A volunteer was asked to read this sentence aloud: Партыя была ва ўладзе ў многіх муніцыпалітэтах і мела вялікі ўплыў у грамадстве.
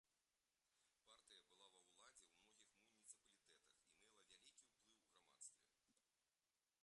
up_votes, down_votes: 2, 0